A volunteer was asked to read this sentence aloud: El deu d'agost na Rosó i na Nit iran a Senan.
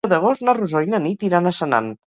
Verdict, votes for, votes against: rejected, 2, 4